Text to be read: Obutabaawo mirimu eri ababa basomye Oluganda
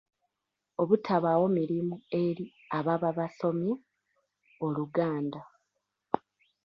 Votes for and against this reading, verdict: 1, 2, rejected